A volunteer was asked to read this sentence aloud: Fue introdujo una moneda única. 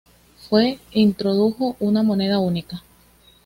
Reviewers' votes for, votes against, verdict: 2, 1, accepted